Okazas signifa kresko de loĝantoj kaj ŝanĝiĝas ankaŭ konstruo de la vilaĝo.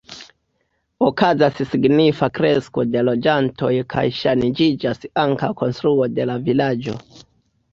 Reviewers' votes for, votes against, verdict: 2, 0, accepted